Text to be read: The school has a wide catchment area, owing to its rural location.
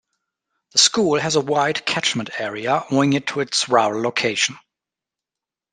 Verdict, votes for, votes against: rejected, 0, 2